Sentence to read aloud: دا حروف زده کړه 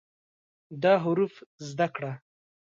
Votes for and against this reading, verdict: 2, 0, accepted